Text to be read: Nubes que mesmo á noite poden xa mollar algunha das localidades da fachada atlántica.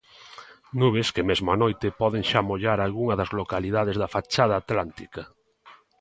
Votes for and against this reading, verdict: 3, 0, accepted